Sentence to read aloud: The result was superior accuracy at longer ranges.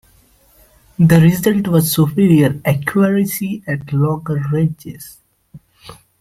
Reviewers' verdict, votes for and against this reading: accepted, 2, 0